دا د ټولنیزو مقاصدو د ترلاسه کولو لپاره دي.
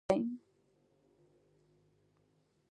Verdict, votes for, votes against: rejected, 1, 2